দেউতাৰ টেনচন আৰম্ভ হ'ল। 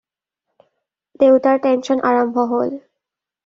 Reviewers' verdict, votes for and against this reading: accepted, 2, 0